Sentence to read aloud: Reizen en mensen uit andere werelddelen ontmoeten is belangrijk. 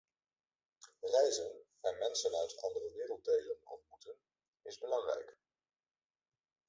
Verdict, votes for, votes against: rejected, 1, 2